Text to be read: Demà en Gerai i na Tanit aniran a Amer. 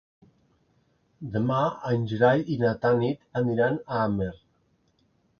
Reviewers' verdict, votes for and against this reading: accepted, 2, 0